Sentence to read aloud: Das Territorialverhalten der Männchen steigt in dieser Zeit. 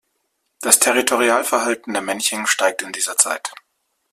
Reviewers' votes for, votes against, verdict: 2, 0, accepted